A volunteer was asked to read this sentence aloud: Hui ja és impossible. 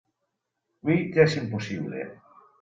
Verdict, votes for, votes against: accepted, 2, 0